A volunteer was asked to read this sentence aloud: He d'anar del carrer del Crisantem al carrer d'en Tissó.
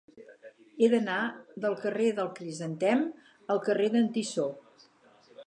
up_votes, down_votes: 4, 0